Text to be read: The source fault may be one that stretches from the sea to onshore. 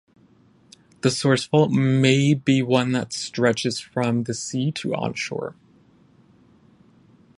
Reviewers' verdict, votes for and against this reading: rejected, 0, 5